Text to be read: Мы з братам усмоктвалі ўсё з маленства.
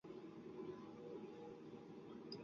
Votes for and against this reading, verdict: 0, 2, rejected